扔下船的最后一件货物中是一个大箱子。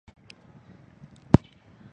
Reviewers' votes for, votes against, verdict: 0, 2, rejected